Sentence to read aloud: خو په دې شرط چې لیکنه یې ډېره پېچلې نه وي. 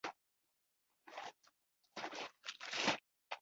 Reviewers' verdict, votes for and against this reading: rejected, 1, 2